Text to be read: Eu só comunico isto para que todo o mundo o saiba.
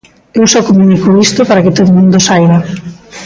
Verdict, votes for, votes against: accepted, 2, 0